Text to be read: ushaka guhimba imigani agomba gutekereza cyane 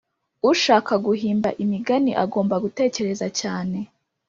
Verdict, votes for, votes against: accepted, 5, 0